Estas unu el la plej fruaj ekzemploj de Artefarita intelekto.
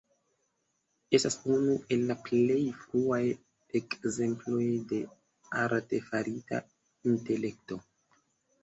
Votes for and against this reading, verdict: 1, 2, rejected